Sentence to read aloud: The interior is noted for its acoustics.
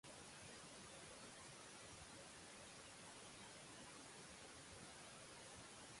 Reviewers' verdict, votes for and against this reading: rejected, 0, 2